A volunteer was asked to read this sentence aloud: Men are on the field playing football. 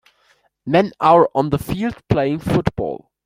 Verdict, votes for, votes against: accepted, 2, 0